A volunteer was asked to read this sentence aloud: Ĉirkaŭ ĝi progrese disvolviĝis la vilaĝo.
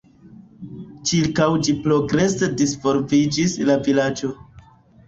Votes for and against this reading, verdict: 0, 2, rejected